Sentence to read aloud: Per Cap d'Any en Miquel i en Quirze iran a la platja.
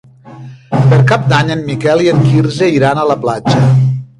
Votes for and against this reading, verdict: 2, 3, rejected